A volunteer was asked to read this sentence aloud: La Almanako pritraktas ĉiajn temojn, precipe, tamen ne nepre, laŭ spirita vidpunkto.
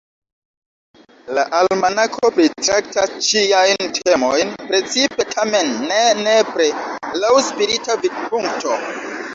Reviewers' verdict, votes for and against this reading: rejected, 1, 2